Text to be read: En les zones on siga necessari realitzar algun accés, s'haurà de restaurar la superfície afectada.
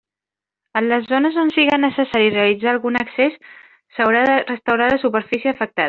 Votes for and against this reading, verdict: 0, 2, rejected